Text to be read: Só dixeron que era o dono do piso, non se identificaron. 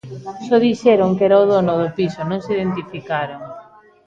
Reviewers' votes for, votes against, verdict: 2, 0, accepted